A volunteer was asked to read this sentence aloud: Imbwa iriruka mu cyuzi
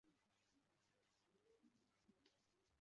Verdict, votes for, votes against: rejected, 0, 2